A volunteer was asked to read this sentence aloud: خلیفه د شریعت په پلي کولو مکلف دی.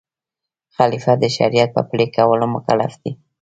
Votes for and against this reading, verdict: 2, 0, accepted